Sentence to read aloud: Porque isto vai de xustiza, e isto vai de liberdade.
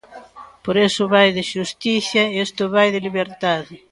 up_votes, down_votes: 0, 2